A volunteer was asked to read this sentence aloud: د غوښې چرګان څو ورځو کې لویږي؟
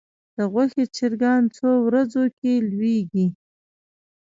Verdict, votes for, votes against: rejected, 0, 2